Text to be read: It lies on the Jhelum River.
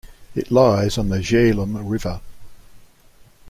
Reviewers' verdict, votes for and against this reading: accepted, 2, 0